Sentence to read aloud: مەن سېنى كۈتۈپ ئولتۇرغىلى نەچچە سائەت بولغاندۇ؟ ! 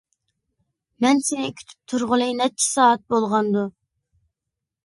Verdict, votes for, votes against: rejected, 0, 2